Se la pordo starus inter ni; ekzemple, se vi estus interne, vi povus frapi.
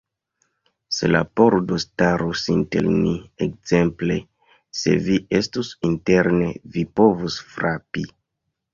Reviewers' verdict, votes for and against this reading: rejected, 0, 2